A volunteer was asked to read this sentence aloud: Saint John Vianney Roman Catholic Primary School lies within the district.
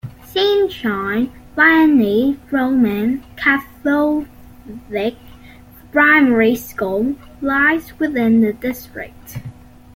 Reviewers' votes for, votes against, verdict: 2, 0, accepted